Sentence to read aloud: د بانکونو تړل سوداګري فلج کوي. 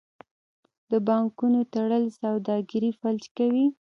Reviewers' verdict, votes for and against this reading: accepted, 2, 0